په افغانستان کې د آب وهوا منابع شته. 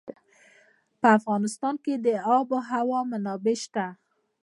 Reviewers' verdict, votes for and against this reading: rejected, 1, 2